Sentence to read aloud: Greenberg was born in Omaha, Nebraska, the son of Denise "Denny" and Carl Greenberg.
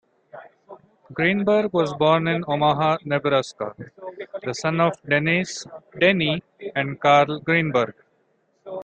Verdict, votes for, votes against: accepted, 2, 0